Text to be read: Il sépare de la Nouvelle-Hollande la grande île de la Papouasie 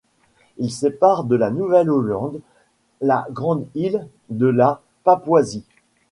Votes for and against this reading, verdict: 2, 0, accepted